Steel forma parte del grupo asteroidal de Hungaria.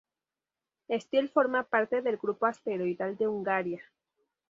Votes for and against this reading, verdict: 2, 0, accepted